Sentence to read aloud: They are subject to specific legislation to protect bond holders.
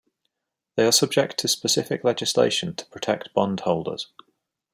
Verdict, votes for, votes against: accepted, 2, 1